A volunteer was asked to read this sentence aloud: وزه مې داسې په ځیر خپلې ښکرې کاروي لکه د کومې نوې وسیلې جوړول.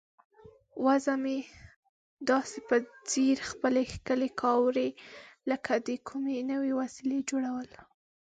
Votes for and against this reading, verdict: 1, 2, rejected